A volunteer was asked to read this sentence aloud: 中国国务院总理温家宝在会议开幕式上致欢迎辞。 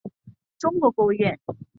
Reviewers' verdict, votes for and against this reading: rejected, 0, 3